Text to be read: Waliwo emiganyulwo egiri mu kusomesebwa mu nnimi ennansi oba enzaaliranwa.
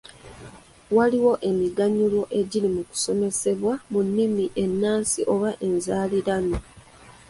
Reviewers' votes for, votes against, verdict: 2, 0, accepted